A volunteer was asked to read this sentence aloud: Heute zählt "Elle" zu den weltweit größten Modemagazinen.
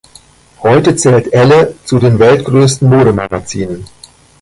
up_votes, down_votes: 2, 1